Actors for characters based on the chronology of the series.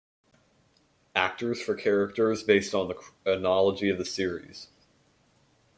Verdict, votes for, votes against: rejected, 1, 2